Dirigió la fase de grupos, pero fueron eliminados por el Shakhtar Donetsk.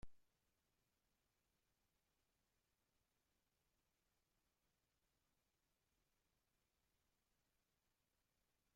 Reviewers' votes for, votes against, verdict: 0, 3, rejected